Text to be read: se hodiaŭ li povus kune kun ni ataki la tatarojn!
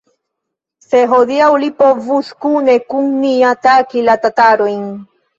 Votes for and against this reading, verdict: 1, 2, rejected